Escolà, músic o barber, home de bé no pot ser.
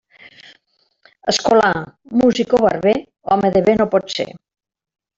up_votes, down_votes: 2, 0